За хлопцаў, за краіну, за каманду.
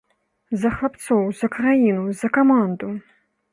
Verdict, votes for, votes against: rejected, 0, 2